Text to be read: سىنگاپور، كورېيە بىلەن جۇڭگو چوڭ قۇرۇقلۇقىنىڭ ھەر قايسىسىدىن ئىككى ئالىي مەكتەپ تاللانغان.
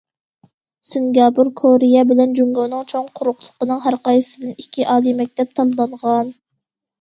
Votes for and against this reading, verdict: 1, 2, rejected